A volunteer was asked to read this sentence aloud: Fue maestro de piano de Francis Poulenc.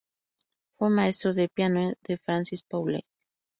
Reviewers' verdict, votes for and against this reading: accepted, 2, 0